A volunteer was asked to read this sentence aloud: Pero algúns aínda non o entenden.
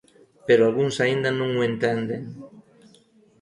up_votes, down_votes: 2, 0